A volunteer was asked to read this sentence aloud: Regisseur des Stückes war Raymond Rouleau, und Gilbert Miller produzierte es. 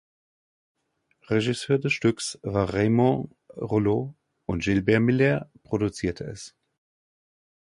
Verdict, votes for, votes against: rejected, 1, 2